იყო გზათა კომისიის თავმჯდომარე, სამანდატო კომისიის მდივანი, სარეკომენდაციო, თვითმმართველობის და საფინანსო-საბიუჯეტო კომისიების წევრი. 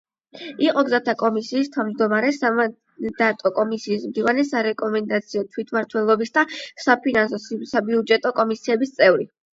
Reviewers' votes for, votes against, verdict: 8, 0, accepted